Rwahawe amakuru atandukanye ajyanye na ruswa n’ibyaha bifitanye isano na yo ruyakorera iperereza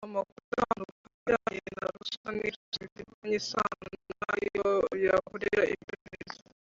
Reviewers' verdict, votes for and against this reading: rejected, 0, 2